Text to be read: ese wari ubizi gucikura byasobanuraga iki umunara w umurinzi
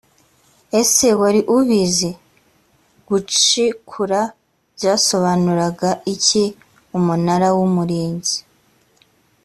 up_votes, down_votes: 2, 0